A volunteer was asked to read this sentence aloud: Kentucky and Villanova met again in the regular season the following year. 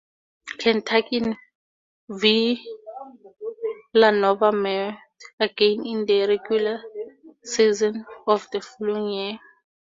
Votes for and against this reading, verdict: 0, 4, rejected